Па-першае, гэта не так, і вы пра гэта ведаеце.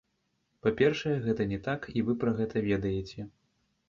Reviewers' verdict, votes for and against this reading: rejected, 1, 2